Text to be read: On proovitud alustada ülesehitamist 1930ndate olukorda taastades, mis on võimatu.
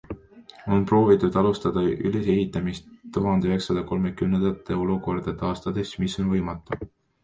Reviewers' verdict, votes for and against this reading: rejected, 0, 2